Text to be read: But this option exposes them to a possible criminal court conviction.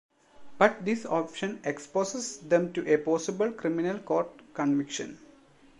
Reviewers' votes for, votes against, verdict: 2, 0, accepted